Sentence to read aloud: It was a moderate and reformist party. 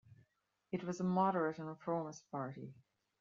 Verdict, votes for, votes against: rejected, 1, 2